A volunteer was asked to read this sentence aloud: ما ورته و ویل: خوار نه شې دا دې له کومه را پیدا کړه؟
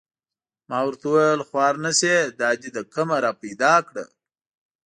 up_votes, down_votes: 2, 0